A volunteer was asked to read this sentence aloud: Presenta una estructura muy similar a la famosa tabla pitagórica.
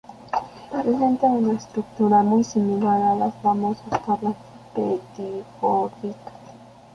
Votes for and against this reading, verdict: 0, 3, rejected